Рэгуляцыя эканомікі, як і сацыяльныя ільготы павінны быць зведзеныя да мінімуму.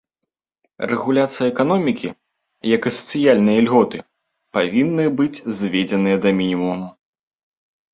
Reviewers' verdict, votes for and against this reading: accepted, 2, 0